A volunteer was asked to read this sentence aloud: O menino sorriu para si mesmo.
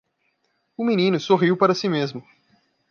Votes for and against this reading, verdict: 2, 0, accepted